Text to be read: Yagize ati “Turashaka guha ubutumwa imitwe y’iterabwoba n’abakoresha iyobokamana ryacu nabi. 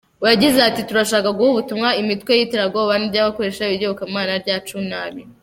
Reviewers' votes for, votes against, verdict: 0, 2, rejected